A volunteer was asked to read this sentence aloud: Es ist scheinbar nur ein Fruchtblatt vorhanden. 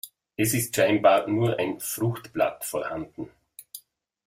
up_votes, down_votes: 2, 1